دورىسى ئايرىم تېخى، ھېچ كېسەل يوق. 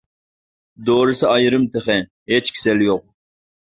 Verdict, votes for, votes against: accepted, 2, 0